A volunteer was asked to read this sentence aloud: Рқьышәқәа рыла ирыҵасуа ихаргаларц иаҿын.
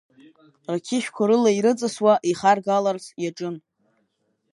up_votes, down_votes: 2, 0